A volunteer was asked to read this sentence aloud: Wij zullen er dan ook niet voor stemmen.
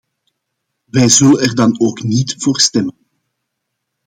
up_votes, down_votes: 2, 0